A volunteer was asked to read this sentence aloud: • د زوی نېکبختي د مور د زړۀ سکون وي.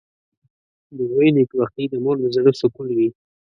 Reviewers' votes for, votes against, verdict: 2, 0, accepted